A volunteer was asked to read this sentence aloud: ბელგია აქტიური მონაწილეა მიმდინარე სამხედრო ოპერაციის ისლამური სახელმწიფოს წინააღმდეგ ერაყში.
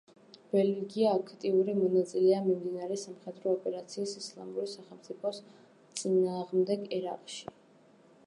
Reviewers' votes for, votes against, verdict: 1, 2, rejected